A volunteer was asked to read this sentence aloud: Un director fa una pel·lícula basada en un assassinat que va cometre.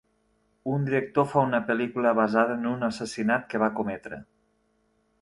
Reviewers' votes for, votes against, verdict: 2, 0, accepted